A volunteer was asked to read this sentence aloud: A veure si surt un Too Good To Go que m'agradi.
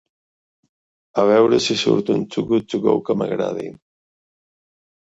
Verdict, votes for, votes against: accepted, 2, 0